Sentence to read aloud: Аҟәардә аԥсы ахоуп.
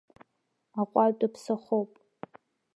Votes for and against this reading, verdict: 0, 2, rejected